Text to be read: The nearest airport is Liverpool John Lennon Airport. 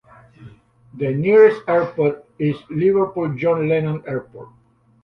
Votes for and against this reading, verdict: 2, 0, accepted